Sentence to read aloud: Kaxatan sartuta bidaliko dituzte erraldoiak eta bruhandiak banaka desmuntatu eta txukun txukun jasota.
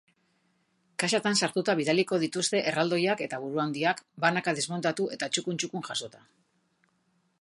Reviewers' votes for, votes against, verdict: 1, 2, rejected